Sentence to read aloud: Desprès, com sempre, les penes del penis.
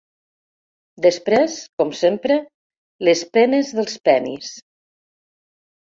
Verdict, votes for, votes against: rejected, 0, 2